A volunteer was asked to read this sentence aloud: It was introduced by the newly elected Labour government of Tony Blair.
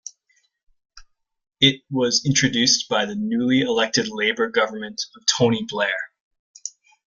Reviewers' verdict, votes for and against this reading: accepted, 2, 0